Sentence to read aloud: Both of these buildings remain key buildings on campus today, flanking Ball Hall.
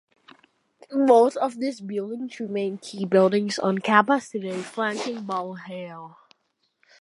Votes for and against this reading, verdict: 0, 2, rejected